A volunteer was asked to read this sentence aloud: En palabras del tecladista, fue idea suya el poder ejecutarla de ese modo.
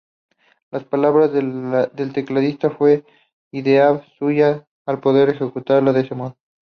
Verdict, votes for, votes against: rejected, 0, 2